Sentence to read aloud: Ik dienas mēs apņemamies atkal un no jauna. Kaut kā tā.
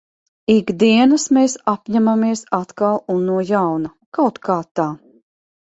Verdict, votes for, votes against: accepted, 3, 0